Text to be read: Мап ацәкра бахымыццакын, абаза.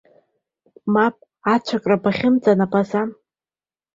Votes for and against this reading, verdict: 1, 2, rejected